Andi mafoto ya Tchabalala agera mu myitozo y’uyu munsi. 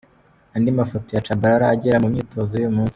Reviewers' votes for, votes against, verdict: 2, 1, accepted